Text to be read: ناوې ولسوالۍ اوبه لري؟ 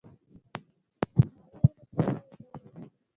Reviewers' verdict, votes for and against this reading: rejected, 1, 2